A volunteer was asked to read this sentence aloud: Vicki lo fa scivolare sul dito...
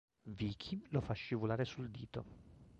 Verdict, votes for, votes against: rejected, 0, 2